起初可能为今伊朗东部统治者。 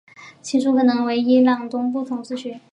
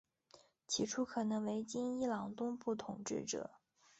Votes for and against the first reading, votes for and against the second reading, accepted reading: 3, 4, 3, 2, second